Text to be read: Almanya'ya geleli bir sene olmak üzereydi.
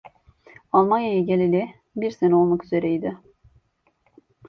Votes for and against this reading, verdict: 2, 0, accepted